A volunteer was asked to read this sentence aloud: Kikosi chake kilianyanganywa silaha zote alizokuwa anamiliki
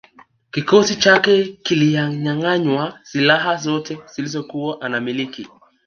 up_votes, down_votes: 3, 1